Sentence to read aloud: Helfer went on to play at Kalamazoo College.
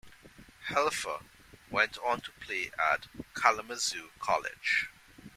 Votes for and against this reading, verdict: 2, 0, accepted